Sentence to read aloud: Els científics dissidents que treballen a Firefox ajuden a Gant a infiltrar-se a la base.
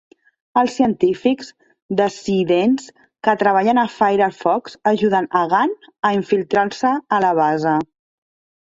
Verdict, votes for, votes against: rejected, 0, 2